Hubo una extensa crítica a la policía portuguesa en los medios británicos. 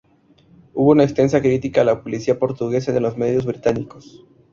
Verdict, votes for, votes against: rejected, 0, 2